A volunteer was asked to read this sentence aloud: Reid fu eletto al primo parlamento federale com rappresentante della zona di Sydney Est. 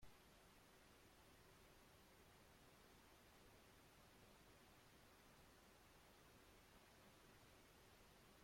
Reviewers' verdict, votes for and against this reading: rejected, 0, 3